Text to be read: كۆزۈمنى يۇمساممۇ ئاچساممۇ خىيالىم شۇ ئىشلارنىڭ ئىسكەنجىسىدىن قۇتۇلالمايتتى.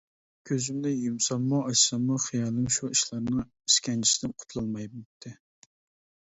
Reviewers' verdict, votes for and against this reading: rejected, 0, 2